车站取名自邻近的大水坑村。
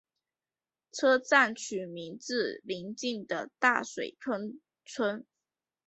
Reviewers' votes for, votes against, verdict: 5, 1, accepted